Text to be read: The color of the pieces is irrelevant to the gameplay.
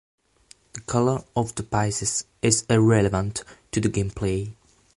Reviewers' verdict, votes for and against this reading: rejected, 1, 2